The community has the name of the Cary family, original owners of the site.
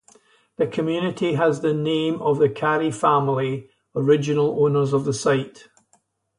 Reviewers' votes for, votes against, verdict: 0, 2, rejected